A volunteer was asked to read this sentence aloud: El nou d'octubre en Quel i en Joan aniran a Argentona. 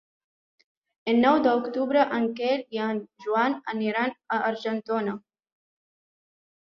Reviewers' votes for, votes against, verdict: 1, 2, rejected